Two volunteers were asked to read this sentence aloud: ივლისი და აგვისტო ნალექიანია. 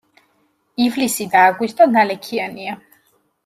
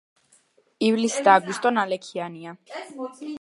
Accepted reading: first